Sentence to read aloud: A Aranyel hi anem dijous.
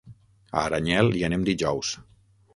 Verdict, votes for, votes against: rejected, 0, 6